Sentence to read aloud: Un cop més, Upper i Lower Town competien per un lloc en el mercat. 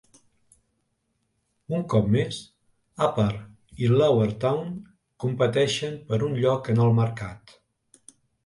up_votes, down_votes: 0, 2